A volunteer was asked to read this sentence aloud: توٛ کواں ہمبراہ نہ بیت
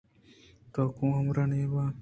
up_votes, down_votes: 2, 0